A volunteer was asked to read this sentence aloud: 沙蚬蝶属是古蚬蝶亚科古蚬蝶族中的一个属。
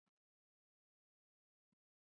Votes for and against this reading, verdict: 0, 3, rejected